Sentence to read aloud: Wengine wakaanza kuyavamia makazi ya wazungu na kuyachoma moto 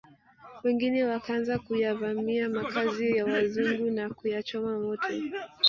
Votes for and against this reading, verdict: 0, 2, rejected